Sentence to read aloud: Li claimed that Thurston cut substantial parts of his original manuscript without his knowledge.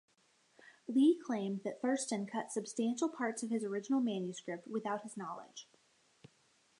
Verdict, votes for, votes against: accepted, 2, 1